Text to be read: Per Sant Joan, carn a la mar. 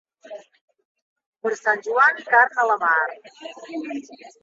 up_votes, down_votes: 2, 0